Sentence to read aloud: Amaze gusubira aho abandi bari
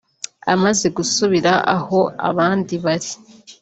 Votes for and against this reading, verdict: 2, 0, accepted